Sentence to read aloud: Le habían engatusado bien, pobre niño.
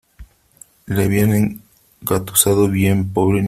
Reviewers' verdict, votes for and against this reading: rejected, 0, 2